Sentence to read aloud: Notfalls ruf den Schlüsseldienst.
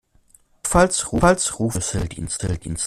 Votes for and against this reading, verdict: 0, 2, rejected